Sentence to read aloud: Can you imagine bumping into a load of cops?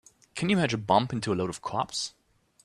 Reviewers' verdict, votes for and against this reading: rejected, 2, 4